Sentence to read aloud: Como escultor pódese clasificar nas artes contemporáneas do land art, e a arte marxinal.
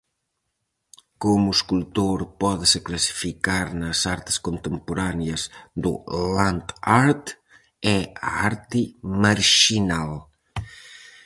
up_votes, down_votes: 4, 0